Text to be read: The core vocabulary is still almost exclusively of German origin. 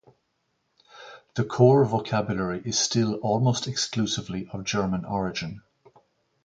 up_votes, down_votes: 0, 2